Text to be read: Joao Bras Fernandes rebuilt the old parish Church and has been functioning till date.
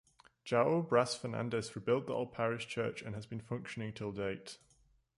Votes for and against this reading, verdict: 2, 0, accepted